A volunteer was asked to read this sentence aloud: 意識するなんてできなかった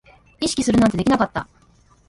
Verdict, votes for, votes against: rejected, 1, 2